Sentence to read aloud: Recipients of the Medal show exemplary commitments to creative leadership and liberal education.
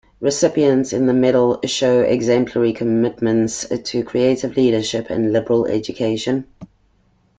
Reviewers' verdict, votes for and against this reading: rejected, 0, 2